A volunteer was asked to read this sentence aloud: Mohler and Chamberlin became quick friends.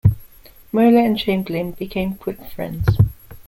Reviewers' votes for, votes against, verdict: 2, 0, accepted